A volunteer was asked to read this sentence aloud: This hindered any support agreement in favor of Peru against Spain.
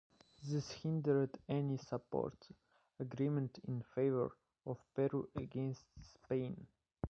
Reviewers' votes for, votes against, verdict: 1, 2, rejected